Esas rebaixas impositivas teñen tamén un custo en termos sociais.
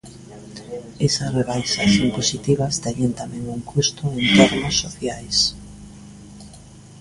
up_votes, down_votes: 1, 2